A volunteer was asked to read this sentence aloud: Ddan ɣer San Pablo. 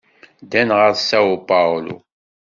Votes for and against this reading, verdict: 1, 2, rejected